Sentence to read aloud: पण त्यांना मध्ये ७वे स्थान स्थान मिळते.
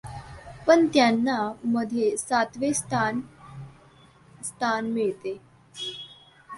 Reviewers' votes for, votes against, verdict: 0, 2, rejected